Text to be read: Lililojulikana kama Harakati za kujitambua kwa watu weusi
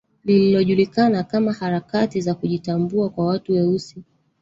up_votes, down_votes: 1, 2